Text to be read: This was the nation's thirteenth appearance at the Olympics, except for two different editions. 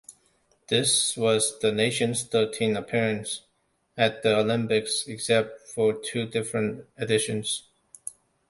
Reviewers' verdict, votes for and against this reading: accepted, 2, 0